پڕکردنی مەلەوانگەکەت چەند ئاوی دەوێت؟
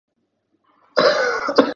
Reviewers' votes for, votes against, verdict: 0, 3, rejected